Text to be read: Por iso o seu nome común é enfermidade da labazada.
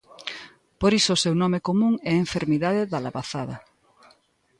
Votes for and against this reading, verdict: 2, 0, accepted